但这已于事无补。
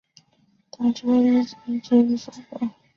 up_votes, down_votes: 0, 2